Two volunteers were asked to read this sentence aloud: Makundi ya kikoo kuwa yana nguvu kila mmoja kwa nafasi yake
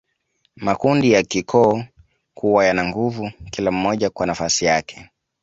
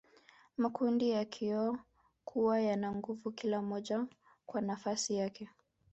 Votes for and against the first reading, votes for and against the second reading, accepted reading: 2, 0, 0, 2, first